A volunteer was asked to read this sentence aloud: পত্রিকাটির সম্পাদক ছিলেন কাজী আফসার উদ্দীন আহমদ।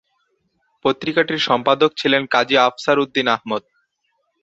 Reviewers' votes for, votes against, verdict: 4, 0, accepted